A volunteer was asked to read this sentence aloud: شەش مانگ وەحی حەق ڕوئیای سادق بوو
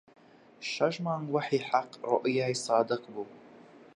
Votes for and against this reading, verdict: 2, 1, accepted